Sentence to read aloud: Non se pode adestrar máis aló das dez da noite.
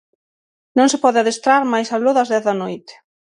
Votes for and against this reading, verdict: 6, 0, accepted